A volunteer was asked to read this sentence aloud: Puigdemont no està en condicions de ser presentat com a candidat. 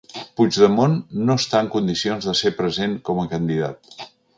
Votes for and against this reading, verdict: 0, 2, rejected